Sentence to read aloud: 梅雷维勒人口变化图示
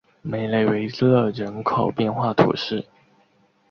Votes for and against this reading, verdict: 3, 1, accepted